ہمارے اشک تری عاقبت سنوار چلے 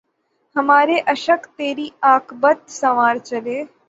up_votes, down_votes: 9, 0